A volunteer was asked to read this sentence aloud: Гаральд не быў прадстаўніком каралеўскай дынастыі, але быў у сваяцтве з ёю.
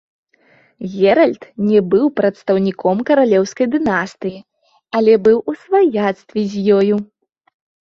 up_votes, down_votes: 0, 2